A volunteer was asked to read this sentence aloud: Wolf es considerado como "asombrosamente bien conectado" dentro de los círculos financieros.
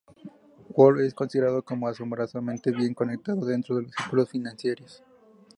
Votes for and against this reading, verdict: 0, 2, rejected